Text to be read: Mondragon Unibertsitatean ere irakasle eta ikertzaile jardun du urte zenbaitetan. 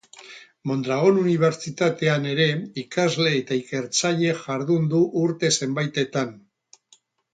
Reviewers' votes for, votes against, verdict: 0, 2, rejected